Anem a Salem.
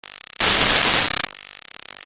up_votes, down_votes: 0, 2